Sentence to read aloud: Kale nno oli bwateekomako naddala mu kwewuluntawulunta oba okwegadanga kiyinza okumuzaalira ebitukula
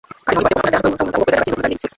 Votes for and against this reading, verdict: 0, 2, rejected